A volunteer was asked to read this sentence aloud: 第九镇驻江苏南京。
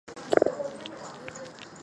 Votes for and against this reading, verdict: 2, 3, rejected